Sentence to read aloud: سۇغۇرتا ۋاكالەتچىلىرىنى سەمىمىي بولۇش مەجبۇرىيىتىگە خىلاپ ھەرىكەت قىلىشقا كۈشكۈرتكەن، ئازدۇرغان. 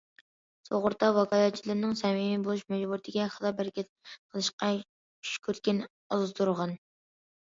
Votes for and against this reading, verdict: 0, 2, rejected